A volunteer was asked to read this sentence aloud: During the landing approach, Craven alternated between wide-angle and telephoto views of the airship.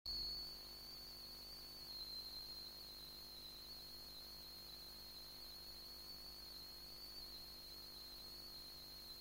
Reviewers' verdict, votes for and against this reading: rejected, 0, 2